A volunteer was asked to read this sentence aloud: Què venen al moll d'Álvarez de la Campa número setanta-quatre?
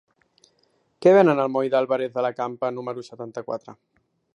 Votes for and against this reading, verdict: 2, 0, accepted